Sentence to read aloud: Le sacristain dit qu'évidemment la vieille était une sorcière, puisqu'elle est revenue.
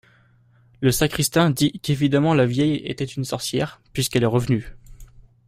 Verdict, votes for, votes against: accepted, 2, 0